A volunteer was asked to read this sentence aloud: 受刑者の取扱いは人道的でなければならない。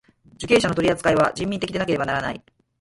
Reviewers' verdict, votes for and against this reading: rejected, 2, 4